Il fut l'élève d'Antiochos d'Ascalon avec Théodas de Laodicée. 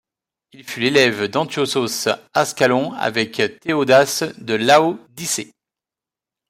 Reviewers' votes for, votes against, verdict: 1, 2, rejected